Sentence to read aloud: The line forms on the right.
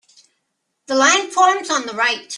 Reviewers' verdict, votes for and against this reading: accepted, 2, 0